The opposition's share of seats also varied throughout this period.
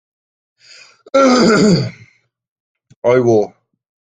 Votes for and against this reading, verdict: 0, 2, rejected